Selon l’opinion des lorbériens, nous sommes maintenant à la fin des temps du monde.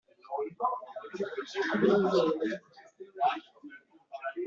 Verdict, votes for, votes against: rejected, 0, 2